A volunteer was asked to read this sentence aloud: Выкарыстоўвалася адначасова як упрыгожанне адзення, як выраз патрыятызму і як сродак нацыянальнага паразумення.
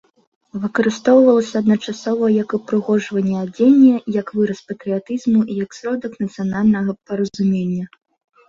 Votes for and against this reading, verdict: 2, 1, accepted